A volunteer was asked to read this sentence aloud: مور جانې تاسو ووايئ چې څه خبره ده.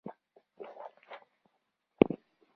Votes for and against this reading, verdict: 1, 2, rejected